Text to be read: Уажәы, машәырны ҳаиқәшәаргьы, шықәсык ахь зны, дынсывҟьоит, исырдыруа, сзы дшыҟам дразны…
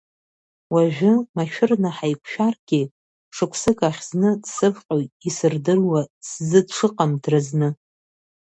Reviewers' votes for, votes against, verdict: 1, 2, rejected